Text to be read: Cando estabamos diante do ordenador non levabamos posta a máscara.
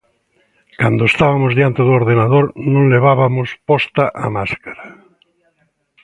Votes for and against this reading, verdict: 0, 2, rejected